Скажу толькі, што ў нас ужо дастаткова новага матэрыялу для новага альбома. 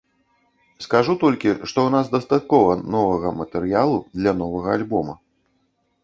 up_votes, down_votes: 1, 3